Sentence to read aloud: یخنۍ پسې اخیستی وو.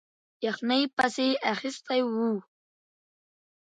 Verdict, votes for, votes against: rejected, 0, 2